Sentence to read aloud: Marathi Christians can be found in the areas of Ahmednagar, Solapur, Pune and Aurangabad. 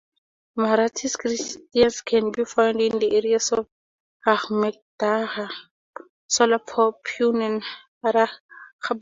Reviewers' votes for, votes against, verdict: 0, 2, rejected